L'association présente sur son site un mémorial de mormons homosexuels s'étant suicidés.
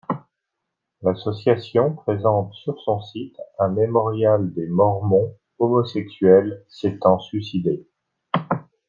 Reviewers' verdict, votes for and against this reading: rejected, 0, 2